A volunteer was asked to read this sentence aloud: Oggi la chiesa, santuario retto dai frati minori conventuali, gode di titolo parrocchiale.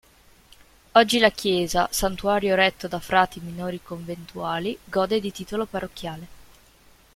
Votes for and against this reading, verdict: 2, 0, accepted